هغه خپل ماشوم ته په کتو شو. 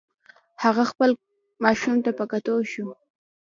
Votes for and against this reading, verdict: 2, 0, accepted